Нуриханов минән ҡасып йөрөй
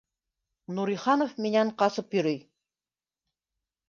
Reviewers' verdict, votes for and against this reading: accepted, 2, 0